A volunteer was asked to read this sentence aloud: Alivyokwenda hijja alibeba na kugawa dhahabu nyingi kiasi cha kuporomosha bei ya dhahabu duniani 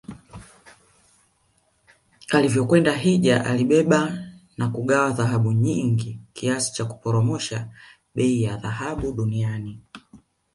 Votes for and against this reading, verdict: 1, 2, rejected